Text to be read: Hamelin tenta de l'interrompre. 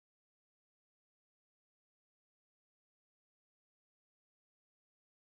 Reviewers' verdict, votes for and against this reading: rejected, 0, 2